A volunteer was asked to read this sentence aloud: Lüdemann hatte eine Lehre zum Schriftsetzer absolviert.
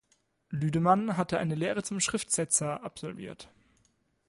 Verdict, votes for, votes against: accepted, 2, 0